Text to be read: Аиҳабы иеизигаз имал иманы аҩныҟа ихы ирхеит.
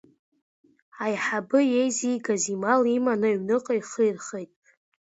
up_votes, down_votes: 2, 0